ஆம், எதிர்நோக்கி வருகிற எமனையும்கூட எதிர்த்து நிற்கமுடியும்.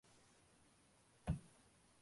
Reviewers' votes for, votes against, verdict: 0, 2, rejected